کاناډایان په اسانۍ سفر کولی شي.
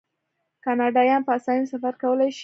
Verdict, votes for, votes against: accepted, 2, 0